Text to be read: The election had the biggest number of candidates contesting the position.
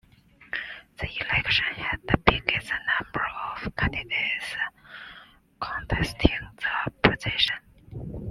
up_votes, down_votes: 2, 0